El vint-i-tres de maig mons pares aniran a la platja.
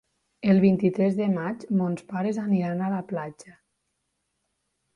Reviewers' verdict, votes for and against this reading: accepted, 3, 0